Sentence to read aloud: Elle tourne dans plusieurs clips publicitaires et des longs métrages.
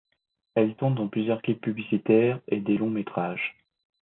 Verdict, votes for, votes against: accepted, 2, 0